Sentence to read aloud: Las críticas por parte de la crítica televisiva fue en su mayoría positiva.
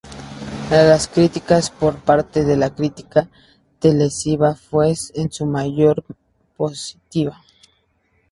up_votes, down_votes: 0, 2